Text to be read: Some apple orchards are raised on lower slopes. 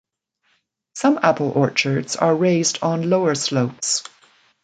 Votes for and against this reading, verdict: 2, 0, accepted